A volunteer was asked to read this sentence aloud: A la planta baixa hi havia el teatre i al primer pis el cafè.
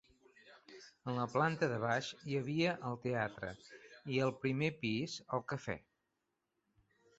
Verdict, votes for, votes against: rejected, 1, 2